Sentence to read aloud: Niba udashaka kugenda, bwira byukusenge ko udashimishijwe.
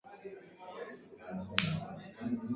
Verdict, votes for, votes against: rejected, 0, 2